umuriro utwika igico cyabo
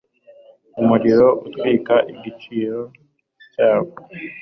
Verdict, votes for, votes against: accepted, 2, 0